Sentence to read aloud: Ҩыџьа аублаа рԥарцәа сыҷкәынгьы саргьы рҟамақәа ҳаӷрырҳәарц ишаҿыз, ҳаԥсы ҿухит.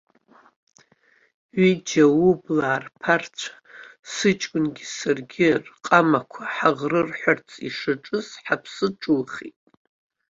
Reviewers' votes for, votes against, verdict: 0, 2, rejected